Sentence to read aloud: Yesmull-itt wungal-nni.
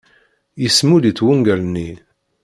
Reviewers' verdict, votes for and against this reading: rejected, 0, 3